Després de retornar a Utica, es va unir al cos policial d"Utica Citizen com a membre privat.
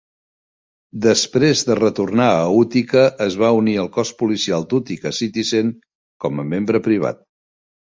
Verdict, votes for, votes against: accepted, 2, 0